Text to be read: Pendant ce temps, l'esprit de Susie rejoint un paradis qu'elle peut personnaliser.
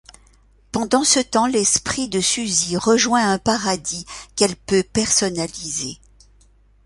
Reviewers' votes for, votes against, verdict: 2, 0, accepted